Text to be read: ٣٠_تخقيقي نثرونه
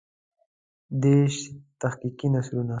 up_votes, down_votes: 0, 2